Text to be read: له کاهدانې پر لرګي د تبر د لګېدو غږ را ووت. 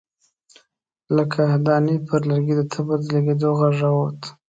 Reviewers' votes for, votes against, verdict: 1, 2, rejected